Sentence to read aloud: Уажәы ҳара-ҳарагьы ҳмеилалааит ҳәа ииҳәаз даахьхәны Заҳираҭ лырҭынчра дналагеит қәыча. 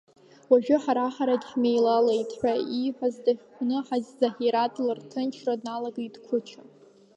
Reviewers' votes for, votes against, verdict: 1, 2, rejected